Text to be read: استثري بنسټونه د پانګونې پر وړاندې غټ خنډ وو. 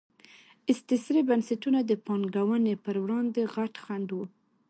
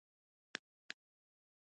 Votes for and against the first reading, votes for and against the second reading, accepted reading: 2, 0, 0, 2, first